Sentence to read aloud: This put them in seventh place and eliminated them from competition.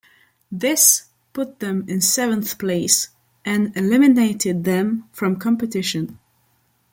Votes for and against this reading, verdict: 2, 0, accepted